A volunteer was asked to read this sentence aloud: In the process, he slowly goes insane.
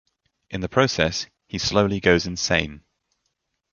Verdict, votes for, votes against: accepted, 2, 0